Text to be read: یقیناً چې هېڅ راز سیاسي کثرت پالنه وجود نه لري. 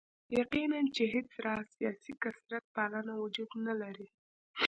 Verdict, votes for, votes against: accepted, 2, 0